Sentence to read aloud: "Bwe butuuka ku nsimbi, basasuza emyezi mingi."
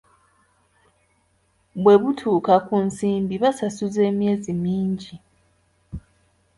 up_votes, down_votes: 2, 0